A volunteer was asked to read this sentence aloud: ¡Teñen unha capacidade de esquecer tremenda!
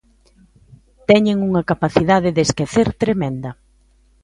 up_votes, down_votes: 2, 0